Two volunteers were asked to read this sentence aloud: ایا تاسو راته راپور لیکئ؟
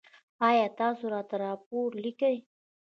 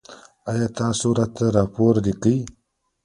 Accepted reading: second